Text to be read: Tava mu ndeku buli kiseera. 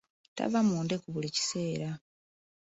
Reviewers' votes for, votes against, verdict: 1, 2, rejected